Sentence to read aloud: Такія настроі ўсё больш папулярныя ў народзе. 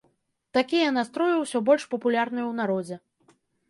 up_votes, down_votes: 2, 0